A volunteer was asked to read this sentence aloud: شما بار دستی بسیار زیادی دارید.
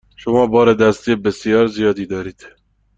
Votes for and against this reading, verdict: 2, 0, accepted